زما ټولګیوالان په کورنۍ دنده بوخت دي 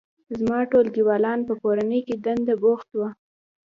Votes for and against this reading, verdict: 2, 0, accepted